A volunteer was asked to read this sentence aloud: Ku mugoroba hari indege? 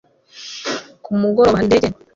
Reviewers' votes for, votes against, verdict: 0, 2, rejected